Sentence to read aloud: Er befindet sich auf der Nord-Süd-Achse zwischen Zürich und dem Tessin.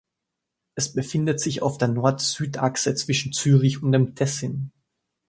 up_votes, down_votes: 1, 2